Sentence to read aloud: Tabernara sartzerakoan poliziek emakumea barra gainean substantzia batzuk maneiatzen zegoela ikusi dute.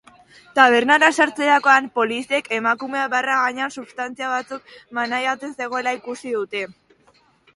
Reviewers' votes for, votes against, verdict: 2, 0, accepted